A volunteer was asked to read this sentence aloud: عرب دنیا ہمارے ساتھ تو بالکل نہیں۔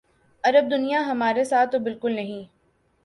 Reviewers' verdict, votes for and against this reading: accepted, 2, 1